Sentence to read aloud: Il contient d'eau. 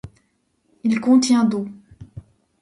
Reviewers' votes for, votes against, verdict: 2, 0, accepted